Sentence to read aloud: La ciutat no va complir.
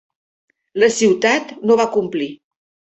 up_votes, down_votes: 4, 0